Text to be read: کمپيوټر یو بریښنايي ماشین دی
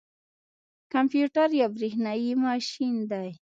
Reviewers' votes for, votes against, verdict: 2, 1, accepted